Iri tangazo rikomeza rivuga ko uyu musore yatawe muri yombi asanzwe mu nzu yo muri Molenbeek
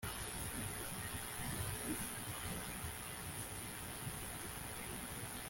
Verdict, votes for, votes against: rejected, 0, 2